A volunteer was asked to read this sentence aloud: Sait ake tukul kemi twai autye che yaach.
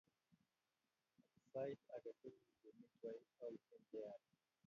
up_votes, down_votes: 1, 2